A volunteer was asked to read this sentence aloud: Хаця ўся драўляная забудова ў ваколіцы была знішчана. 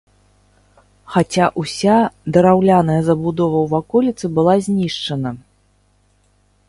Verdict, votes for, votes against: accepted, 3, 0